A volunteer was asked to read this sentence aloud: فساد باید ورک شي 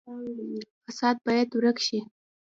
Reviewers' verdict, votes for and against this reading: rejected, 0, 2